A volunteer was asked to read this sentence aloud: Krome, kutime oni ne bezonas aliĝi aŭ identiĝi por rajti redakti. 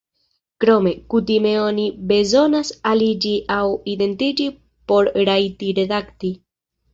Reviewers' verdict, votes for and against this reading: rejected, 0, 2